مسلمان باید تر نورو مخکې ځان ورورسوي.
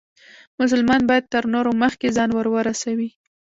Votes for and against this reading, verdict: 2, 0, accepted